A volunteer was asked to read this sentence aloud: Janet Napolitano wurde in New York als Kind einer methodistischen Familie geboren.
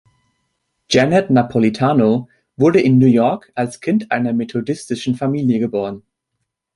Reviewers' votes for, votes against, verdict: 3, 0, accepted